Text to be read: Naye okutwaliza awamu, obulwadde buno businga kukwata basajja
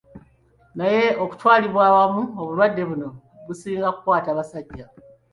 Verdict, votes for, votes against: accepted, 2, 1